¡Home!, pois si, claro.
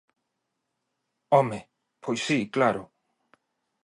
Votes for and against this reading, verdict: 2, 0, accepted